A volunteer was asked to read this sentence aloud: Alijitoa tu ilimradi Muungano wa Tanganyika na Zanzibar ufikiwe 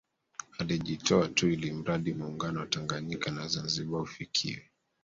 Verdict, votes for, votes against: accepted, 2, 0